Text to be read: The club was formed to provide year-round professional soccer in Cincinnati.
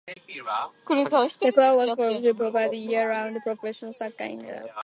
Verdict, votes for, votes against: rejected, 0, 2